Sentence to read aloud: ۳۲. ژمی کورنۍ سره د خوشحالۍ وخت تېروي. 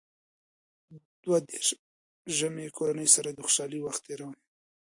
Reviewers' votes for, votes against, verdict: 0, 2, rejected